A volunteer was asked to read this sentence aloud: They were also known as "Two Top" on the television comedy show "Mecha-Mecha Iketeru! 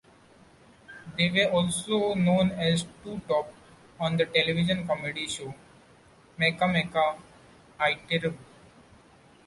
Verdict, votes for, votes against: accepted, 2, 0